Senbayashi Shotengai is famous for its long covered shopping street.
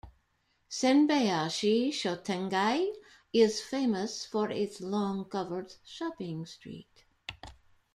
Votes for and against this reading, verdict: 2, 1, accepted